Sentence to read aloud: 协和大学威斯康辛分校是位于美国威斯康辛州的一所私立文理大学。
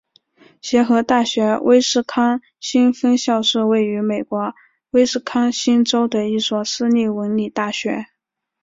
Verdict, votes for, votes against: accepted, 3, 0